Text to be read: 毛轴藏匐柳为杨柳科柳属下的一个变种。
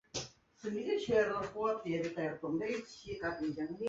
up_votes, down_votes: 2, 1